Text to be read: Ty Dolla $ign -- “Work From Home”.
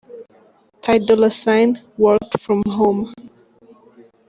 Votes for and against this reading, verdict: 1, 2, rejected